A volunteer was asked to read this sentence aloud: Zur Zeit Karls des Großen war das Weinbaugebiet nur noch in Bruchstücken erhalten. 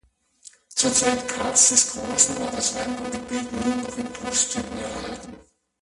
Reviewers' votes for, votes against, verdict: 0, 2, rejected